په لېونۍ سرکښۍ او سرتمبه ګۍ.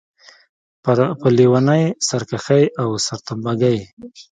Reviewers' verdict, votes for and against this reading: accepted, 2, 1